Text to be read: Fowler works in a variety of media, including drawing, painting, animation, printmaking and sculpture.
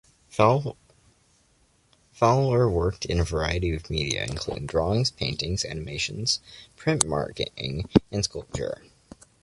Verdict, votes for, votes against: rejected, 0, 2